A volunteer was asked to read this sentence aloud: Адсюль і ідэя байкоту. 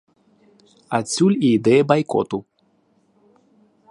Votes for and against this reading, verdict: 2, 0, accepted